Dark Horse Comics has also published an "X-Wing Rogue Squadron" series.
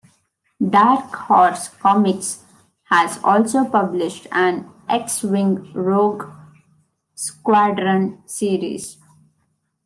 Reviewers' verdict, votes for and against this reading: accepted, 2, 0